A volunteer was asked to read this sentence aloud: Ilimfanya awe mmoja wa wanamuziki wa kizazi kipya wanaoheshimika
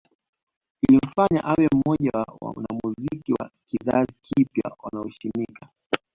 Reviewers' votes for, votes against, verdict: 1, 2, rejected